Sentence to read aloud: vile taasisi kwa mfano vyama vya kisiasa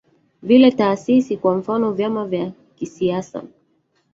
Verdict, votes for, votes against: rejected, 0, 2